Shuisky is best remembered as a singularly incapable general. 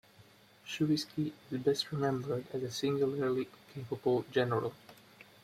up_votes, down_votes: 2, 1